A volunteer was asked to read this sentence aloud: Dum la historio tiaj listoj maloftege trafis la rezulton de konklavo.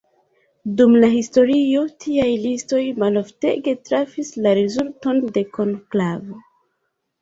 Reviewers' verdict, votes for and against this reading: rejected, 1, 2